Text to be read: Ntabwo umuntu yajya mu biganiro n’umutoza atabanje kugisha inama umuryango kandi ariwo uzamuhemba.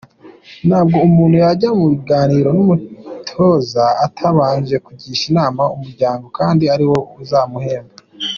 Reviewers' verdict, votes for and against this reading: accepted, 2, 0